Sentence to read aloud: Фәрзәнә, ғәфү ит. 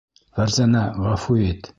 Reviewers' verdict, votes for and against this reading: accepted, 2, 0